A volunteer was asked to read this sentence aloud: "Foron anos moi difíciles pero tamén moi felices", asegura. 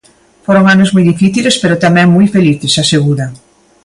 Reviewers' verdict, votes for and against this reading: accepted, 2, 0